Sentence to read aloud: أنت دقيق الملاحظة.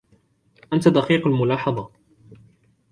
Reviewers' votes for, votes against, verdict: 0, 2, rejected